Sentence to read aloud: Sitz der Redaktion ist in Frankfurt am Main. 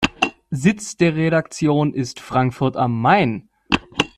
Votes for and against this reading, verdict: 1, 2, rejected